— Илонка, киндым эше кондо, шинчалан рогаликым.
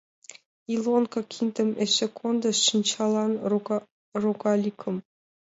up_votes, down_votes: 1, 2